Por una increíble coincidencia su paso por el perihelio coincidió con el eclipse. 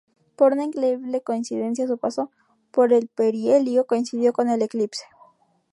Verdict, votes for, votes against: accepted, 4, 0